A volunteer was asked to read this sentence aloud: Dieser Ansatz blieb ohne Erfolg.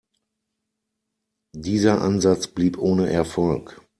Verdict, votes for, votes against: accepted, 2, 0